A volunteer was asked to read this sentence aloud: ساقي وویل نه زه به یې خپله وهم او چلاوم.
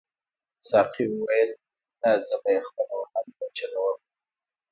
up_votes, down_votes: 0, 2